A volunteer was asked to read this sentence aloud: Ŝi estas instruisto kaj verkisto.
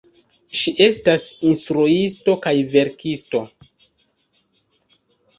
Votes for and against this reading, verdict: 1, 2, rejected